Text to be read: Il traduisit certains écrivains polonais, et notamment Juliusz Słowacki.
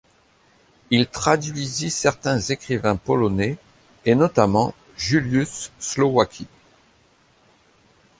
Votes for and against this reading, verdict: 2, 0, accepted